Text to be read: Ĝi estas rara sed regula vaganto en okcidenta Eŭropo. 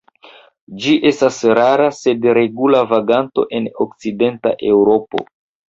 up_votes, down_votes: 2, 0